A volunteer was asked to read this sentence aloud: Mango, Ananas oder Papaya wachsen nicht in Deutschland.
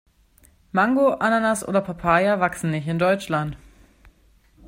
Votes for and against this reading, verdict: 2, 0, accepted